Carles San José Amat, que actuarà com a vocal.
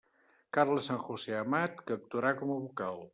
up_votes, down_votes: 2, 0